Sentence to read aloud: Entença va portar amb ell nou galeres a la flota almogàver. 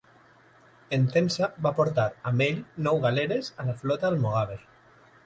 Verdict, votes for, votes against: accepted, 2, 0